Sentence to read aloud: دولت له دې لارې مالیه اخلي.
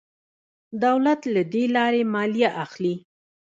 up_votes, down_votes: 1, 2